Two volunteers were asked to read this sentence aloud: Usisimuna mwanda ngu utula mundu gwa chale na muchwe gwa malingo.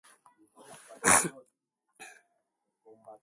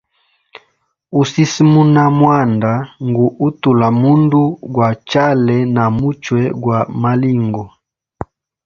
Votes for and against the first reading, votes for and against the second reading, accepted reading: 0, 2, 2, 0, second